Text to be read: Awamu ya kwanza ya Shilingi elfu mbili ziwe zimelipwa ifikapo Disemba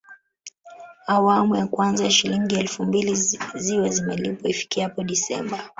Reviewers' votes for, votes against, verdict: 1, 2, rejected